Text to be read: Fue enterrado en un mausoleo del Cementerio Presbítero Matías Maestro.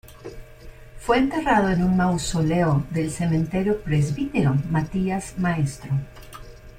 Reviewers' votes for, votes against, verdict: 2, 0, accepted